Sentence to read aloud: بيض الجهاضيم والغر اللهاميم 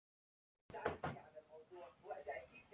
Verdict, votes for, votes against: rejected, 0, 2